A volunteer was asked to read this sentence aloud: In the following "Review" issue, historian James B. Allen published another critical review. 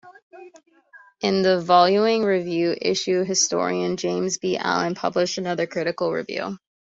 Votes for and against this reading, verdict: 2, 1, accepted